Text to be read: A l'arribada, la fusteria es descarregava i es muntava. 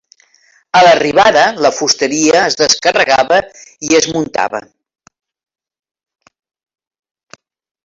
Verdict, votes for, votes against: accepted, 3, 0